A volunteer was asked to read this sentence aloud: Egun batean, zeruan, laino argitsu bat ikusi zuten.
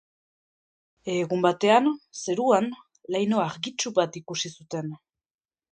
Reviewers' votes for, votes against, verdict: 3, 0, accepted